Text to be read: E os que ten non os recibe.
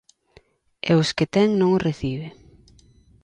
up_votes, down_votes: 2, 0